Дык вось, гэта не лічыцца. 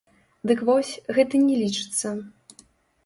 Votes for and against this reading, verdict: 1, 2, rejected